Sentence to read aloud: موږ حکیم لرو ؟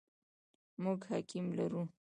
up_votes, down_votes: 0, 2